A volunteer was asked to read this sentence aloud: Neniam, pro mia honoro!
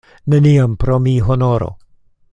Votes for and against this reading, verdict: 0, 2, rejected